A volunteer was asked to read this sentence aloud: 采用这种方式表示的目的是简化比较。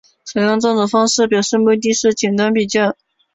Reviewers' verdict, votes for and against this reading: rejected, 1, 4